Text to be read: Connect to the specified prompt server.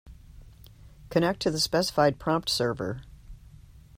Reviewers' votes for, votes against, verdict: 2, 0, accepted